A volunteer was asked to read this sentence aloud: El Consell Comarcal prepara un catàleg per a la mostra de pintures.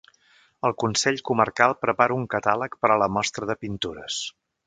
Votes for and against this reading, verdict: 5, 0, accepted